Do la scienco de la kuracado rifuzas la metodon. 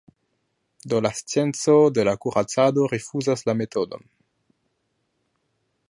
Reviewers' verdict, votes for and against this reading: rejected, 1, 2